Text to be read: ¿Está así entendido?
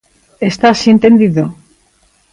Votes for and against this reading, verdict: 2, 0, accepted